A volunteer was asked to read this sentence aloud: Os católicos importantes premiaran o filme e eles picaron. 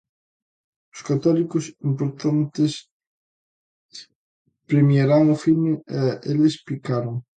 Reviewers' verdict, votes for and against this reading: rejected, 1, 2